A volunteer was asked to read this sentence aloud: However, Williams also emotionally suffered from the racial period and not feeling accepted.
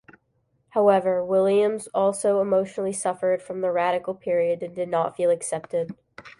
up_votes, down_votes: 1, 2